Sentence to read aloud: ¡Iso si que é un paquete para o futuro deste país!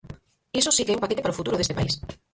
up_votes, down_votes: 2, 4